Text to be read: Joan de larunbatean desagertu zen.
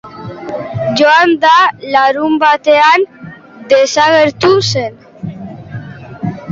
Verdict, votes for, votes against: rejected, 1, 2